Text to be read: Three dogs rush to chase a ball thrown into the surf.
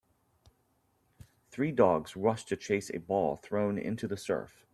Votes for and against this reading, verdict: 2, 0, accepted